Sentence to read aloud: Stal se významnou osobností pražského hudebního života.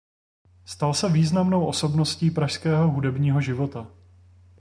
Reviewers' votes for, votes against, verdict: 1, 2, rejected